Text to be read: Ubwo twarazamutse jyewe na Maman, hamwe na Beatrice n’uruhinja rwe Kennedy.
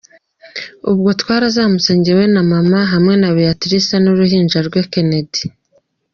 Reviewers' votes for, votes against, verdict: 2, 0, accepted